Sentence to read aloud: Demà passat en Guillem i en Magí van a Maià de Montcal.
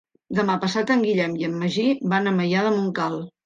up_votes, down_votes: 3, 0